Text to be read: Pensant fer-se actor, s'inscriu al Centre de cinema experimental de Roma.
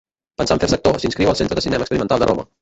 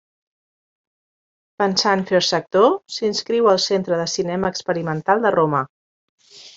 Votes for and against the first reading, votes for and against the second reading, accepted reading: 0, 2, 2, 0, second